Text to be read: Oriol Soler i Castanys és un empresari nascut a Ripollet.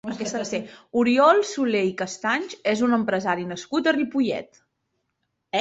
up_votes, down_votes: 2, 0